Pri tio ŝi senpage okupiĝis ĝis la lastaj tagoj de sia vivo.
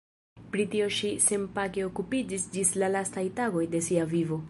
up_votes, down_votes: 0, 2